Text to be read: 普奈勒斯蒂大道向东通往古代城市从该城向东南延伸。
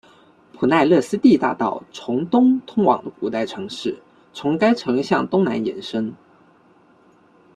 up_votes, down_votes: 0, 2